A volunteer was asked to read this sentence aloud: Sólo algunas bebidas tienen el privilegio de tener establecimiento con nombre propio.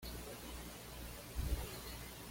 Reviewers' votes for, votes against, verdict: 1, 2, rejected